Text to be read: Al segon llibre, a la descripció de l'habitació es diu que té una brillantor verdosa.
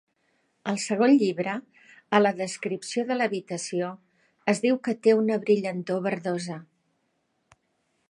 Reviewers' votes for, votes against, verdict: 2, 0, accepted